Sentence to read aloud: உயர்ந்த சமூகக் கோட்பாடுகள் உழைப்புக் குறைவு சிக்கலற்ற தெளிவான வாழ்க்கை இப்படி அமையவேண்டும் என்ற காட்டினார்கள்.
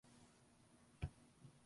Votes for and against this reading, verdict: 0, 2, rejected